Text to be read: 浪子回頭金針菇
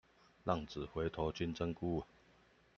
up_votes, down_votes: 2, 0